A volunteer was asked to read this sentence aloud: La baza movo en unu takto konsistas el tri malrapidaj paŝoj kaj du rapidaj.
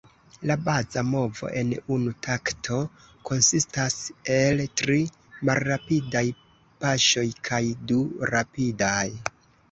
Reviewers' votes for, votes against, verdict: 2, 0, accepted